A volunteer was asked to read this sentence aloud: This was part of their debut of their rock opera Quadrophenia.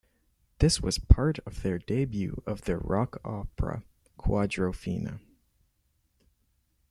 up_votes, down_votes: 1, 2